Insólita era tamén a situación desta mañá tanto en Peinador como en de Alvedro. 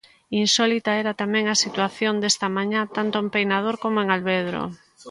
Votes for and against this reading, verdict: 1, 2, rejected